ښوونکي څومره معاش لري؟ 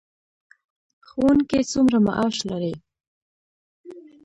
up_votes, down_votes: 2, 0